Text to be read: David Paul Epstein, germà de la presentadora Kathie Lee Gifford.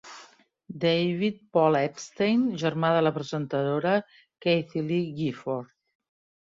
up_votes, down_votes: 3, 0